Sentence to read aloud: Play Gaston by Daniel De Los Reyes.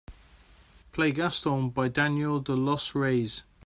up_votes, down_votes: 2, 1